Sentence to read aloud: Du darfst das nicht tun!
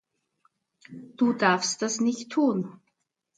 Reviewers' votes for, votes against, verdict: 2, 0, accepted